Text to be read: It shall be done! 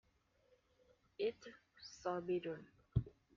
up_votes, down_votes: 0, 2